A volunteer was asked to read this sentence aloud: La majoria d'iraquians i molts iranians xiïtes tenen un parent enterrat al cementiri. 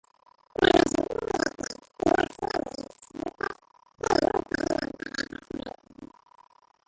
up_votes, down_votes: 1, 2